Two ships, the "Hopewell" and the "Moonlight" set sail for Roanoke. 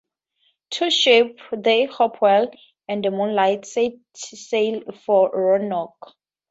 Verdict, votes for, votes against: rejected, 0, 4